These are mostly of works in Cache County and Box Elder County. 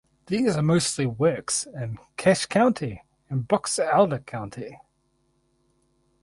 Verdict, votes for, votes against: accepted, 4, 0